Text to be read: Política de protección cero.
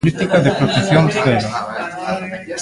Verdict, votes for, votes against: rejected, 1, 2